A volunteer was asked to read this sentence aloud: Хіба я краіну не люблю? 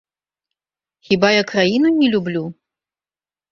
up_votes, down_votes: 2, 0